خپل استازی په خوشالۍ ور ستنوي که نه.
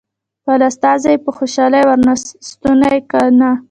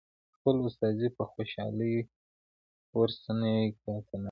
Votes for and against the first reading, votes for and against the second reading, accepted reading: 1, 2, 2, 0, second